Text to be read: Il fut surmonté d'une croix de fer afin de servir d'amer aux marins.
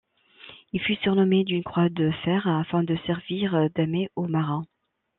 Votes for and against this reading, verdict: 1, 2, rejected